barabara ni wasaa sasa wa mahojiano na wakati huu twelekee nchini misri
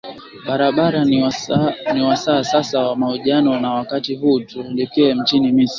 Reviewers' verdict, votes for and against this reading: rejected, 0, 2